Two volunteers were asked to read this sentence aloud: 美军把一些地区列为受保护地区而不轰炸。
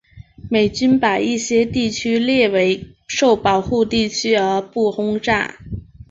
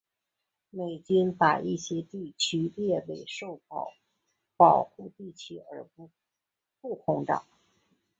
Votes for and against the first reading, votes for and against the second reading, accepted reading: 2, 0, 2, 2, first